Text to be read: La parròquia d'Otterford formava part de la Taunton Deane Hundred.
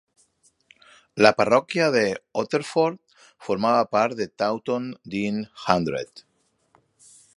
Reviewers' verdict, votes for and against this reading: rejected, 0, 2